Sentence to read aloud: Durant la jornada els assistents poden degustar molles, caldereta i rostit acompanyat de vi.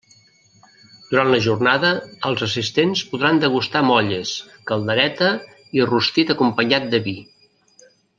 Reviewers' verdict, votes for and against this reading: rejected, 0, 2